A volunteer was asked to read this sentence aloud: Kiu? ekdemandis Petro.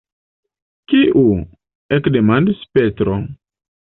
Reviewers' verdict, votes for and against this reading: accepted, 2, 0